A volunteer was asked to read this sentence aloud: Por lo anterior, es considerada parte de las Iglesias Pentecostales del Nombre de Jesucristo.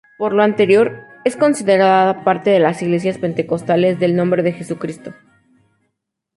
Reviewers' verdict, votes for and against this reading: accepted, 2, 0